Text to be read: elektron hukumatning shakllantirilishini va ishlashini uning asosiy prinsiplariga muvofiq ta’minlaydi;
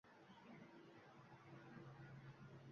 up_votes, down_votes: 1, 2